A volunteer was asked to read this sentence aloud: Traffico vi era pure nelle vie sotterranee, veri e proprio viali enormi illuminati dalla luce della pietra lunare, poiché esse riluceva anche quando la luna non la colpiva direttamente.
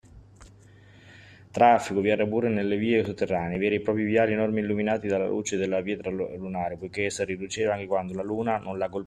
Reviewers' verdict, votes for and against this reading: rejected, 1, 2